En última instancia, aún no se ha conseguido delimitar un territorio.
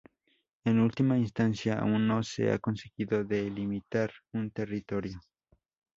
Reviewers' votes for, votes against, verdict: 2, 0, accepted